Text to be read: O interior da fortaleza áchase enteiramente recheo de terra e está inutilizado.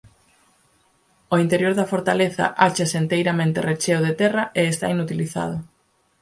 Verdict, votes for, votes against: accepted, 4, 0